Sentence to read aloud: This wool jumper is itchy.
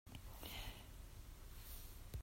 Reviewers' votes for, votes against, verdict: 0, 2, rejected